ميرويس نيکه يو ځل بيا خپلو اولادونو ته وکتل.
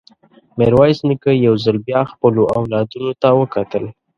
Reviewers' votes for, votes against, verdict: 2, 0, accepted